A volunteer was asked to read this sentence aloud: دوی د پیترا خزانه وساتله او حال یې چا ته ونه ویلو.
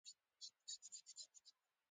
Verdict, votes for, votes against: rejected, 1, 2